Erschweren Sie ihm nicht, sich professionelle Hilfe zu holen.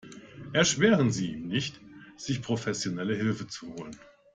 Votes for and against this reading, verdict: 2, 0, accepted